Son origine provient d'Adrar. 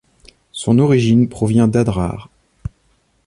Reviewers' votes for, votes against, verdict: 2, 0, accepted